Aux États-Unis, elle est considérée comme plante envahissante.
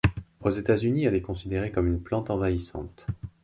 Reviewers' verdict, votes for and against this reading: rejected, 0, 2